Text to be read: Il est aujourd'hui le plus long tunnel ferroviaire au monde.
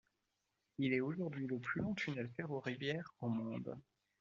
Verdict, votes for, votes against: rejected, 0, 2